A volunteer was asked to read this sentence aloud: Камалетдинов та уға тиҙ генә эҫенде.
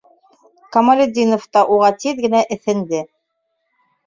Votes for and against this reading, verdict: 2, 0, accepted